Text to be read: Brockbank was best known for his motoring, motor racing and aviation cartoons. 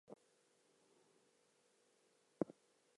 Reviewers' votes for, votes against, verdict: 2, 0, accepted